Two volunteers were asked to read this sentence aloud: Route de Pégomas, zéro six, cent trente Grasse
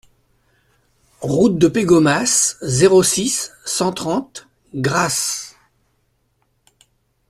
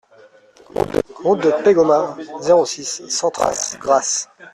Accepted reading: first